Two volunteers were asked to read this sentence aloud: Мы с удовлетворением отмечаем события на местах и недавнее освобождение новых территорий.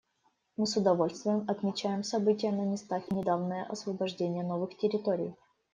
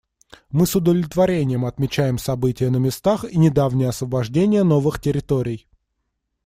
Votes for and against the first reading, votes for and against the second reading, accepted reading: 0, 2, 2, 0, second